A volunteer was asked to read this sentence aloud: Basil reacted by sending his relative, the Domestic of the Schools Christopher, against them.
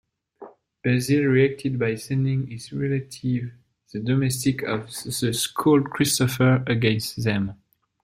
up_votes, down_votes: 0, 2